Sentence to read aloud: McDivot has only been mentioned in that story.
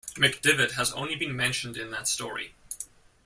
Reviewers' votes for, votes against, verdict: 2, 0, accepted